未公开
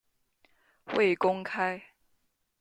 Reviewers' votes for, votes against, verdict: 2, 0, accepted